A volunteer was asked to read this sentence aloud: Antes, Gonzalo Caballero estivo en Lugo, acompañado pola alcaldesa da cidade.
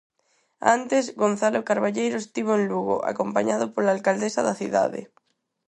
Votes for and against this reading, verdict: 0, 4, rejected